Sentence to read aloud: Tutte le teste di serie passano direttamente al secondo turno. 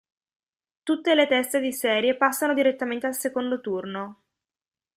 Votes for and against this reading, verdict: 2, 0, accepted